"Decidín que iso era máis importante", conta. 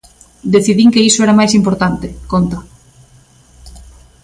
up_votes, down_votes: 3, 0